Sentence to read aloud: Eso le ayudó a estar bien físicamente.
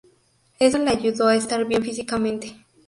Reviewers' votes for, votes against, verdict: 2, 0, accepted